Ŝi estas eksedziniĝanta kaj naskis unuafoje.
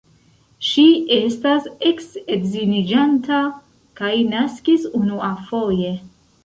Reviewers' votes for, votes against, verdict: 0, 2, rejected